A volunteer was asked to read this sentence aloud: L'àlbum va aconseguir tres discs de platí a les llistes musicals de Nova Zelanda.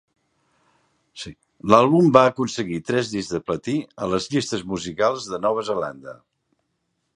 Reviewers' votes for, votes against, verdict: 0, 2, rejected